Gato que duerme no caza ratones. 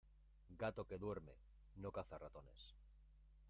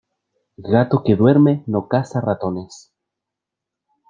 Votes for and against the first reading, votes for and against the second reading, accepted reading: 1, 2, 2, 0, second